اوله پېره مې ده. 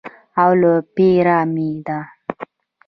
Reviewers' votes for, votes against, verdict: 1, 2, rejected